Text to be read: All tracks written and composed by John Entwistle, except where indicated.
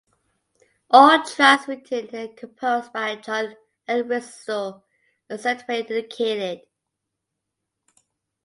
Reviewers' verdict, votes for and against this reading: rejected, 1, 2